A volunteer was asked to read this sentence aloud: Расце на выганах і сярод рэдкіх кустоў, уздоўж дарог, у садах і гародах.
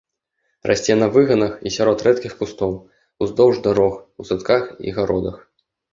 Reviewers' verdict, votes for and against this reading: rejected, 0, 2